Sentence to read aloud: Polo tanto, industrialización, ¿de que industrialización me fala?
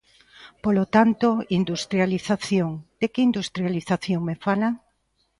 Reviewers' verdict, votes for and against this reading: accepted, 2, 0